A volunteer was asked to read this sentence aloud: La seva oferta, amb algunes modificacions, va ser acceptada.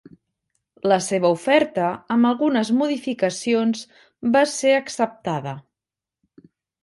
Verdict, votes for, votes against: accepted, 4, 0